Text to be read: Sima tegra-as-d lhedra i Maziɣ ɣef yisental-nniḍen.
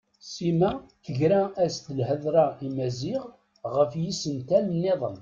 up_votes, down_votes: 1, 2